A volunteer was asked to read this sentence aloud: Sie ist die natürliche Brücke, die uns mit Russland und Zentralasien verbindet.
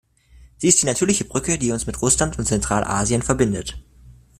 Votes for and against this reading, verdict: 2, 0, accepted